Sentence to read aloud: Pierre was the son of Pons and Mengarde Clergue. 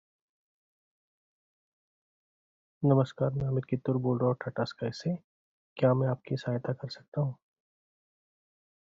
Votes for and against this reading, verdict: 0, 2, rejected